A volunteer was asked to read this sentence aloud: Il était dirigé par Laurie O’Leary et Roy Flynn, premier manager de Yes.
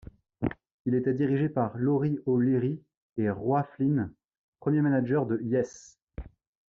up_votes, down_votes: 0, 2